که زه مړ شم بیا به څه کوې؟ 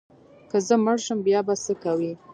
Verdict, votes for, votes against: rejected, 0, 2